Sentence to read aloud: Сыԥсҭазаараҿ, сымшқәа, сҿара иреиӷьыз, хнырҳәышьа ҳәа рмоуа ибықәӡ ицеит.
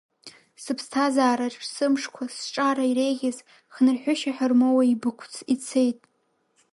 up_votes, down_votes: 0, 2